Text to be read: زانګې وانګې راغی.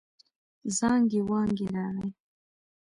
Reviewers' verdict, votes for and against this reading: accepted, 2, 1